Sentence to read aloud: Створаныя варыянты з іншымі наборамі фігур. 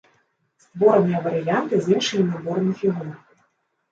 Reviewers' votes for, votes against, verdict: 0, 2, rejected